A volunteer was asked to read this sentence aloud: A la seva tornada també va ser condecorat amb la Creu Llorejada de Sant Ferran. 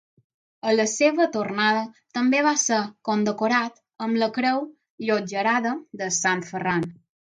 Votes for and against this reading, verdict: 0, 6, rejected